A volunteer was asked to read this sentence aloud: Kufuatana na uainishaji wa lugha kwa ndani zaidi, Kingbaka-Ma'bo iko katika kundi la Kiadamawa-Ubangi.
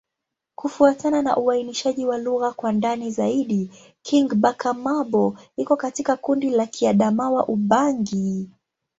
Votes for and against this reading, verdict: 3, 1, accepted